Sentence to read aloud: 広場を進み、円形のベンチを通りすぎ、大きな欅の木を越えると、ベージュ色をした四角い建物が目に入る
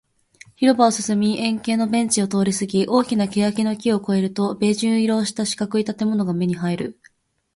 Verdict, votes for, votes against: accepted, 2, 0